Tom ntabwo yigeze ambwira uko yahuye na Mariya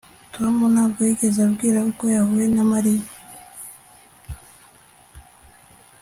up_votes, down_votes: 2, 0